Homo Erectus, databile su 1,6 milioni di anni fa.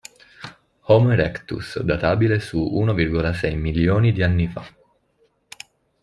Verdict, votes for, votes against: rejected, 0, 2